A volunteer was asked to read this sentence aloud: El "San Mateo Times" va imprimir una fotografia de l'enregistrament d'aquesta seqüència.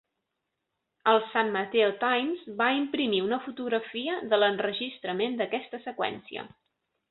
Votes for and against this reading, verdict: 3, 0, accepted